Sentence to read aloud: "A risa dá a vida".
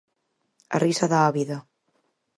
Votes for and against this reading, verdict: 4, 0, accepted